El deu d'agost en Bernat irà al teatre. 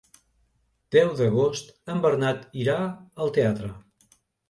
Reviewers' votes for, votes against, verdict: 0, 2, rejected